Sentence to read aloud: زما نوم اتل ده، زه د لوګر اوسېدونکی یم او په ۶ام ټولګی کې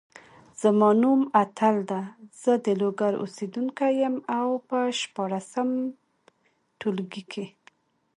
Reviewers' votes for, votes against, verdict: 0, 2, rejected